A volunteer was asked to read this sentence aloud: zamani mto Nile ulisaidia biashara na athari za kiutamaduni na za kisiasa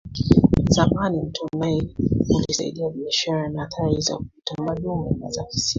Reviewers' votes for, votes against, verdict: 0, 2, rejected